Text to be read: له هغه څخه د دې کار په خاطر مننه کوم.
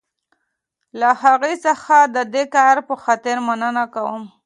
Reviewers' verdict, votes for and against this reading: accepted, 2, 0